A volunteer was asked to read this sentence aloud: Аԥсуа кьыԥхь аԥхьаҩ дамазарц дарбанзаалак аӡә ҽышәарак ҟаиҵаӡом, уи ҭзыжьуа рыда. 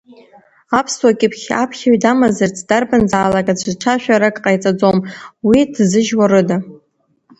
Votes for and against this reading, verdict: 2, 0, accepted